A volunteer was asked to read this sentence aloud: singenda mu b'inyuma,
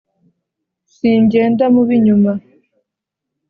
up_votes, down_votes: 2, 0